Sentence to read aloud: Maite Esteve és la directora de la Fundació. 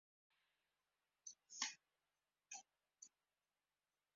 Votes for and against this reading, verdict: 0, 2, rejected